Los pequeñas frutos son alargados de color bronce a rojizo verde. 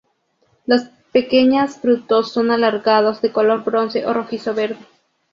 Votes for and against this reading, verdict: 0, 2, rejected